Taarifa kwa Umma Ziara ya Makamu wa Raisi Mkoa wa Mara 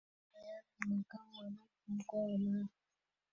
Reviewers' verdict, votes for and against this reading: rejected, 0, 2